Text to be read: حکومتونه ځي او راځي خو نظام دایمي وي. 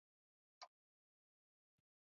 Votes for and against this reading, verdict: 1, 2, rejected